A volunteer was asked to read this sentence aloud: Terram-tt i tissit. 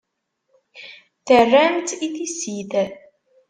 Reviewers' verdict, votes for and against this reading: accepted, 3, 0